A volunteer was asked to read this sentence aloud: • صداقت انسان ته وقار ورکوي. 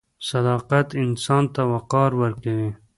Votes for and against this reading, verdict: 2, 0, accepted